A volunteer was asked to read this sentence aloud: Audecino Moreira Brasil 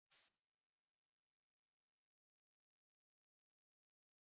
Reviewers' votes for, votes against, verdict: 0, 2, rejected